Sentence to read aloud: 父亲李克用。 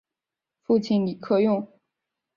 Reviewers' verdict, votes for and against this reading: accepted, 4, 0